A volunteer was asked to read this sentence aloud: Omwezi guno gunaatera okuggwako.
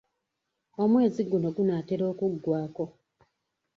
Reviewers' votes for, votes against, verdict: 2, 1, accepted